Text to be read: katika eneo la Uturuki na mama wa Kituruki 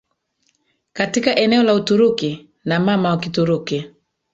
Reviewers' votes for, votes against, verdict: 2, 1, accepted